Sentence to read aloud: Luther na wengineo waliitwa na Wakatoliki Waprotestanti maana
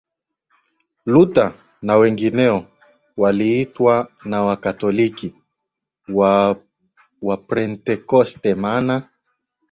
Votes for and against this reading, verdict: 7, 6, accepted